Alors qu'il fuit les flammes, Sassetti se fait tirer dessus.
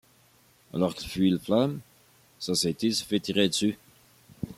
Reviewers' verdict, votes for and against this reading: rejected, 0, 2